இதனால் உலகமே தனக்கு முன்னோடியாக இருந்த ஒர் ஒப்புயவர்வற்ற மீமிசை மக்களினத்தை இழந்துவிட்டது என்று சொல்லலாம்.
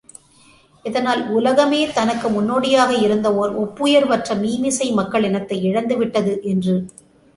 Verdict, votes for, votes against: rejected, 0, 3